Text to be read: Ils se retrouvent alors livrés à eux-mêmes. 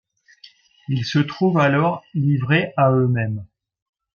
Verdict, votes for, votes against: rejected, 1, 2